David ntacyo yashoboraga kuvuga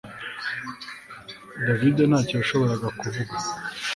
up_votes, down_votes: 2, 0